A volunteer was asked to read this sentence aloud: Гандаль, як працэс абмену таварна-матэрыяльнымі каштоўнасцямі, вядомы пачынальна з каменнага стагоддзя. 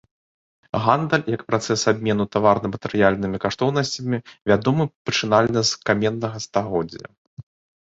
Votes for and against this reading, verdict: 2, 0, accepted